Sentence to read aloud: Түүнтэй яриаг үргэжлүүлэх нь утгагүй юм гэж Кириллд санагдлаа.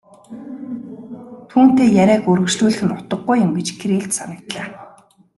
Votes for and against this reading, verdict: 2, 0, accepted